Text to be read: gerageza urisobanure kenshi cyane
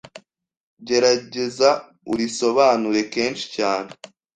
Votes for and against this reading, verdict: 2, 0, accepted